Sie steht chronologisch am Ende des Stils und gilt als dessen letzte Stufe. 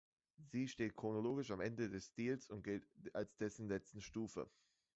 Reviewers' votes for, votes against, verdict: 1, 2, rejected